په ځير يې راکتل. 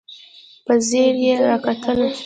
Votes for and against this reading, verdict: 0, 2, rejected